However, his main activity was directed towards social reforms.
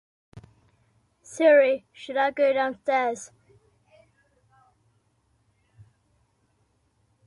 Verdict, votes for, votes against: rejected, 0, 2